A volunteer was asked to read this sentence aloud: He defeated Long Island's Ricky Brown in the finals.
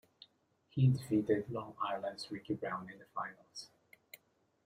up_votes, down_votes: 2, 0